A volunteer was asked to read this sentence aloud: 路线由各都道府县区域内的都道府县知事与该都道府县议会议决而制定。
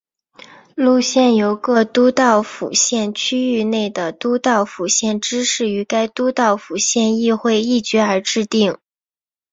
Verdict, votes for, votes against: accepted, 2, 0